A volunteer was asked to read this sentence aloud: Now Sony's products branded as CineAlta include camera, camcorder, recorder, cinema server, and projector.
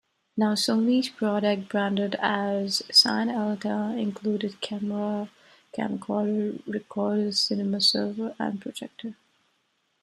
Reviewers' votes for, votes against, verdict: 1, 2, rejected